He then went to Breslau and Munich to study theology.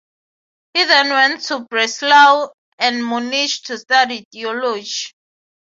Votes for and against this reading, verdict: 3, 3, rejected